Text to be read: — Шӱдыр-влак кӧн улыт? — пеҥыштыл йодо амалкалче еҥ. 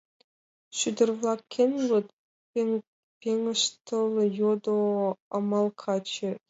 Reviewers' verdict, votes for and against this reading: rejected, 0, 2